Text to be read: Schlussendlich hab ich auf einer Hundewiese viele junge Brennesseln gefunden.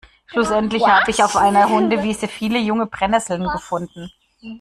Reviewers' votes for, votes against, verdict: 0, 2, rejected